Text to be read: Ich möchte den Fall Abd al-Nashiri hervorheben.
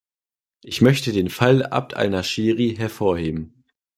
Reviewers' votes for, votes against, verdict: 2, 0, accepted